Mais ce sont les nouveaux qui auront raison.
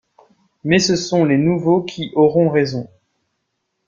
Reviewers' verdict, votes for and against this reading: accepted, 2, 0